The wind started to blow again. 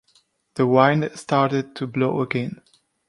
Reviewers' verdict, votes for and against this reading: rejected, 0, 2